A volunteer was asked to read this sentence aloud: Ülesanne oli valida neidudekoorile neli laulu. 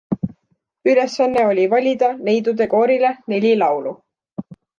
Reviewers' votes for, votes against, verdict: 2, 0, accepted